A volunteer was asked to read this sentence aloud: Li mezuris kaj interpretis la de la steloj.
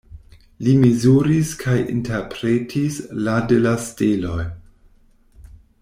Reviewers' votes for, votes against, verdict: 1, 2, rejected